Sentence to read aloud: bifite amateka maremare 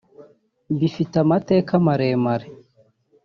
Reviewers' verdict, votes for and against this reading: accepted, 2, 0